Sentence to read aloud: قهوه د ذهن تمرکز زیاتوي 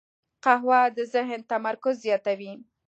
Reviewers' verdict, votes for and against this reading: accepted, 2, 0